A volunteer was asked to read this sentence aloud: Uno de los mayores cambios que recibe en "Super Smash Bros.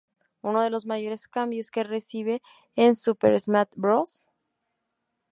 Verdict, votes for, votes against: accepted, 2, 0